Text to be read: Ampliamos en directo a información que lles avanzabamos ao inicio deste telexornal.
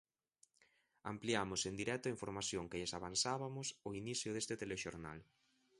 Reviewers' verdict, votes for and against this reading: accepted, 2, 0